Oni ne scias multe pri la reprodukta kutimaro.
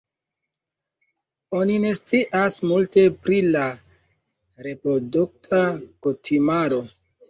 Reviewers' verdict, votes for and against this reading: accepted, 2, 1